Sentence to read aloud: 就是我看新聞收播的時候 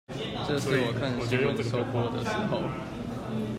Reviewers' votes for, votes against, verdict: 1, 2, rejected